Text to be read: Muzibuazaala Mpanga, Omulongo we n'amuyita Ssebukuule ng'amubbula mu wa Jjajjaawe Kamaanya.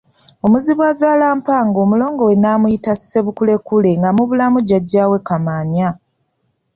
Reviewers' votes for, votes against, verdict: 1, 2, rejected